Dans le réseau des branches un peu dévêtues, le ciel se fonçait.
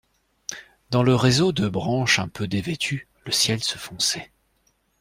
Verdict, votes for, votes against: rejected, 1, 2